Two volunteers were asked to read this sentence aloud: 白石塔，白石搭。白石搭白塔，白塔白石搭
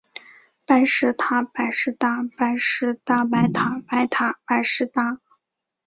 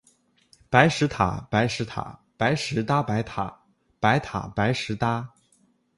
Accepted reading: first